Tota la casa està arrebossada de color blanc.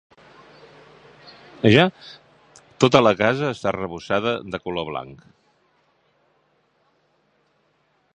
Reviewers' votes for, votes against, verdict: 1, 3, rejected